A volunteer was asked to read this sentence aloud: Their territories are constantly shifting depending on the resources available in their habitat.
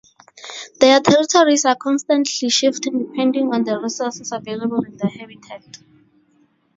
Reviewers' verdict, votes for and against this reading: rejected, 0, 2